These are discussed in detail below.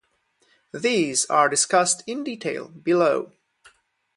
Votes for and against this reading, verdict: 2, 0, accepted